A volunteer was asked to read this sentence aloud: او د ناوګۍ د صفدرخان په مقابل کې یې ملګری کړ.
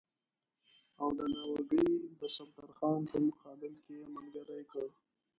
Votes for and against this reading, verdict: 1, 2, rejected